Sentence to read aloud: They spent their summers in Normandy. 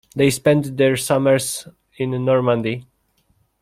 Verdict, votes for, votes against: accepted, 2, 1